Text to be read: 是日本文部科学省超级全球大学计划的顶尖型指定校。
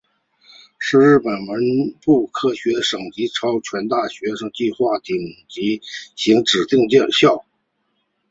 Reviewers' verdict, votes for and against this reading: rejected, 1, 2